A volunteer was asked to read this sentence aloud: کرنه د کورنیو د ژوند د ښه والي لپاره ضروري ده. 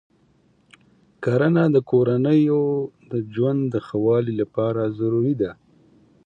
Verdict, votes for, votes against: accepted, 2, 0